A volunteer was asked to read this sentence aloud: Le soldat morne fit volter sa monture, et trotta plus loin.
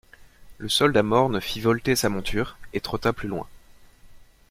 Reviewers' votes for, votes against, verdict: 2, 0, accepted